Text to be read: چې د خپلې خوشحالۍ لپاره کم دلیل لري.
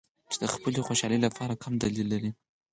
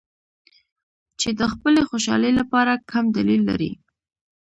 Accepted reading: second